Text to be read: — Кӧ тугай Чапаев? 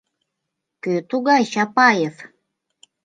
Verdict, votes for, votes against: accepted, 2, 0